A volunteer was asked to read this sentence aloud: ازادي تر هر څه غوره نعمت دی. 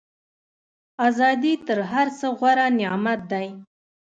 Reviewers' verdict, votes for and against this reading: rejected, 1, 2